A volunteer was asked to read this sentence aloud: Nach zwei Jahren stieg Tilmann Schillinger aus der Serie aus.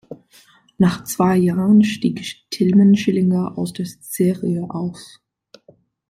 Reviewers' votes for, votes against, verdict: 1, 2, rejected